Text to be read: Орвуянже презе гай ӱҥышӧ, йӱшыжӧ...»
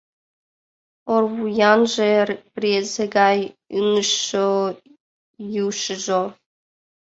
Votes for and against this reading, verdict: 0, 2, rejected